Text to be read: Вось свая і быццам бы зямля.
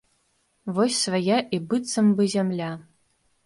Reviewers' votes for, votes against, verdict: 3, 0, accepted